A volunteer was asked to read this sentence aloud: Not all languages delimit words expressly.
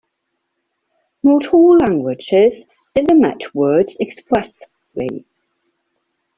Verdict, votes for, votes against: rejected, 0, 2